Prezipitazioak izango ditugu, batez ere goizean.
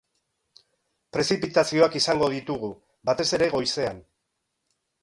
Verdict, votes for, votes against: accepted, 3, 0